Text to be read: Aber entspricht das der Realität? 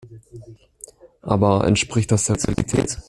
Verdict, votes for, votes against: rejected, 0, 2